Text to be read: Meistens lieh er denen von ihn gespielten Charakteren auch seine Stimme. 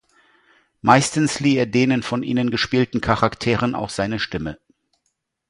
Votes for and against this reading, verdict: 0, 2, rejected